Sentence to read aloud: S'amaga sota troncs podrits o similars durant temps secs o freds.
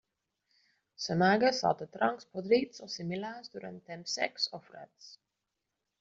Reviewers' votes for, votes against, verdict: 2, 1, accepted